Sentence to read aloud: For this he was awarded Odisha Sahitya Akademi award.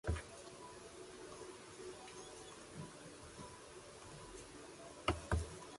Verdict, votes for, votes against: rejected, 0, 2